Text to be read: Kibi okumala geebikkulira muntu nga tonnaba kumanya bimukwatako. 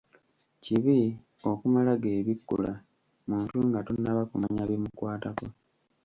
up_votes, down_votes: 0, 2